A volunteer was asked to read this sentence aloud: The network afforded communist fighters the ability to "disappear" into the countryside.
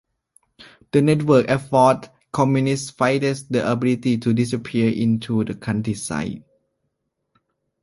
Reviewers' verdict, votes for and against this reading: rejected, 0, 2